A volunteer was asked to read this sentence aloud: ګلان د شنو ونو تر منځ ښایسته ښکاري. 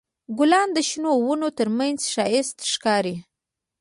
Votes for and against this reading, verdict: 1, 2, rejected